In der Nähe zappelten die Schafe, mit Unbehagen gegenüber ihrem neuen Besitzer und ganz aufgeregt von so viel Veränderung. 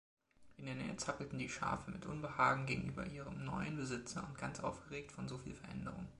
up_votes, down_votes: 2, 0